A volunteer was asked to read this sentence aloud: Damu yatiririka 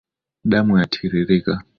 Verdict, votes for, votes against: accepted, 2, 0